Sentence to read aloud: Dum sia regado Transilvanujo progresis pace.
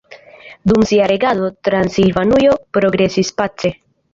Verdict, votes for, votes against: accepted, 2, 0